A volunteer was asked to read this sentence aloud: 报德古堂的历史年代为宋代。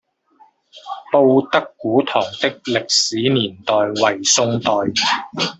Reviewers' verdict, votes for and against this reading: rejected, 1, 2